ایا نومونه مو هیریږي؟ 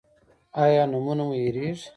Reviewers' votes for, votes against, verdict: 2, 0, accepted